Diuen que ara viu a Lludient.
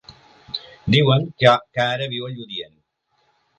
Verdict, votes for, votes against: rejected, 0, 2